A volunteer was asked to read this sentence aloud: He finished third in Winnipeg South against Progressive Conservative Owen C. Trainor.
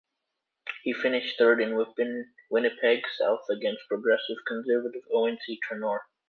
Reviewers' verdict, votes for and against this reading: rejected, 0, 2